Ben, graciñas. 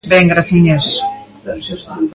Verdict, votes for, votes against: accepted, 2, 1